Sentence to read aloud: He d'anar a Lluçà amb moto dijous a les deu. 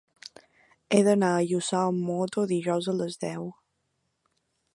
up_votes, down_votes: 2, 0